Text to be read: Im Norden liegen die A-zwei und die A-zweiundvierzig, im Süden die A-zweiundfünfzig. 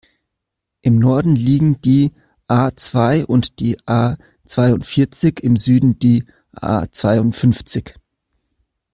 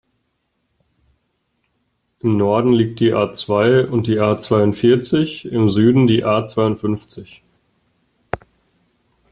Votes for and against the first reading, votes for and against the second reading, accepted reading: 2, 0, 0, 3, first